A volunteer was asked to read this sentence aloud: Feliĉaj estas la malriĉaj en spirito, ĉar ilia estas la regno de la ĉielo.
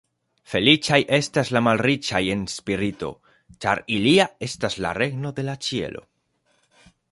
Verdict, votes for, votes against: accepted, 2, 0